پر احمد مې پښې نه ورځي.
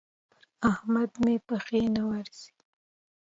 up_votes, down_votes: 2, 0